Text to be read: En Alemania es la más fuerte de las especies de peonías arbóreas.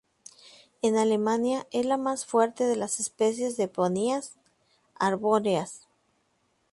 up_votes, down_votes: 0, 4